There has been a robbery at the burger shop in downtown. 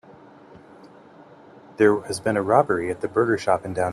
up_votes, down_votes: 0, 2